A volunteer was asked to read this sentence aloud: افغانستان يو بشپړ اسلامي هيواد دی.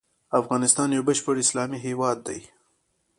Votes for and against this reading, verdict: 2, 0, accepted